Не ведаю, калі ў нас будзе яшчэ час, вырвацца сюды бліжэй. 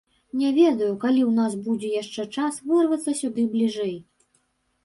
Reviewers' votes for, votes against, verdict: 3, 0, accepted